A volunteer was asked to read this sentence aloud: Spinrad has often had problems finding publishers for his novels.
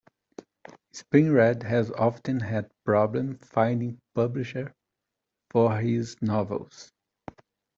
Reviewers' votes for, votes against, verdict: 0, 2, rejected